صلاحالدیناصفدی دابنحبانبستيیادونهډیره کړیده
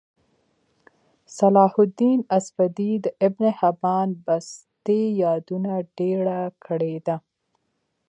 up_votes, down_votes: 1, 2